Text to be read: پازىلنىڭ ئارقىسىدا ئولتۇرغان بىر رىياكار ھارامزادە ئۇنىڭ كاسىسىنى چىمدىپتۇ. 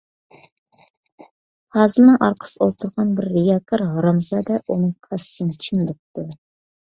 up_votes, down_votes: 2, 0